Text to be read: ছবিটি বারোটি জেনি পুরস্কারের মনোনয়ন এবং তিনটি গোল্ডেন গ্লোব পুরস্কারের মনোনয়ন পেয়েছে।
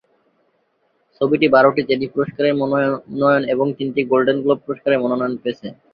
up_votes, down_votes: 2, 2